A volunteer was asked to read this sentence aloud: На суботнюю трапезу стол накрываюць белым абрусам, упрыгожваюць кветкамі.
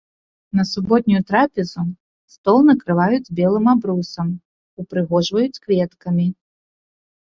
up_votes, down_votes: 2, 0